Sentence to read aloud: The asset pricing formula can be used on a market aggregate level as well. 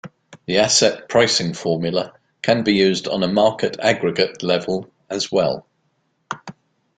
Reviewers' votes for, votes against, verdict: 2, 0, accepted